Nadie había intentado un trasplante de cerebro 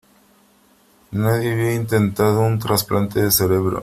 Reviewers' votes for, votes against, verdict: 2, 0, accepted